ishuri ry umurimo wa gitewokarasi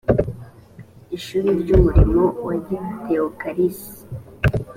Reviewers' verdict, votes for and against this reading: accepted, 2, 1